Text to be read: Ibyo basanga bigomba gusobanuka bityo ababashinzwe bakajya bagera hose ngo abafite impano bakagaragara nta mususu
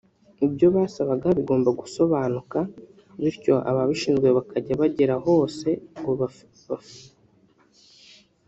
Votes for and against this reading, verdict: 0, 3, rejected